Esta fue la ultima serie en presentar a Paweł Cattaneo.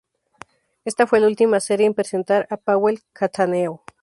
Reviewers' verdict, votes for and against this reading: rejected, 0, 2